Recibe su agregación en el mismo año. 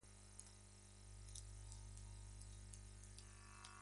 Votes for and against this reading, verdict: 0, 2, rejected